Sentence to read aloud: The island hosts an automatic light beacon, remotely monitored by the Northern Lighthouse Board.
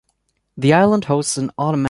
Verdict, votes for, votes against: rejected, 1, 2